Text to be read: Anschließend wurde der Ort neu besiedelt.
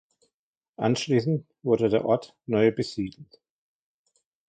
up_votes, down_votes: 1, 2